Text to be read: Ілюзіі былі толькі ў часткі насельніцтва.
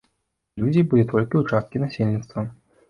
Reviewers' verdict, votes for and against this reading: rejected, 1, 2